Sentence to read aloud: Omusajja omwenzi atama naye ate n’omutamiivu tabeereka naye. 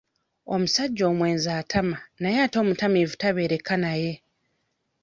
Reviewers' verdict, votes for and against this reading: rejected, 1, 2